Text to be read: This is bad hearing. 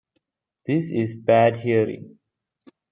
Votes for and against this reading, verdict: 2, 0, accepted